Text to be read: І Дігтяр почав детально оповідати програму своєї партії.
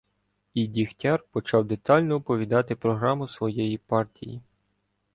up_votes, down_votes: 2, 0